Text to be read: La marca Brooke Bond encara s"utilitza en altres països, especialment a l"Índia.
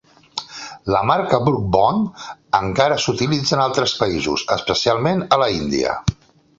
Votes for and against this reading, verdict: 0, 4, rejected